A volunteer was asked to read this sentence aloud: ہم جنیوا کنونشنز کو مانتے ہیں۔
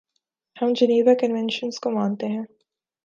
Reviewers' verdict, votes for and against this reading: accepted, 5, 0